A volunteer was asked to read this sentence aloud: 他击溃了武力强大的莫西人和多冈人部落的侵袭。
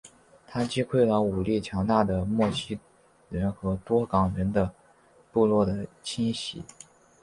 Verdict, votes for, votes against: accepted, 3, 0